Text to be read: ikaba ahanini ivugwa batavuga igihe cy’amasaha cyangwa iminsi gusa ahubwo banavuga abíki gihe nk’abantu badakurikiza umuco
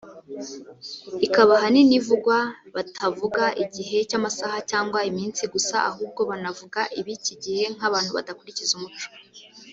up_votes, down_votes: 1, 3